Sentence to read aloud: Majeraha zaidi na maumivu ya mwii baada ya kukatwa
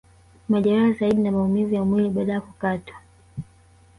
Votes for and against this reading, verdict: 1, 2, rejected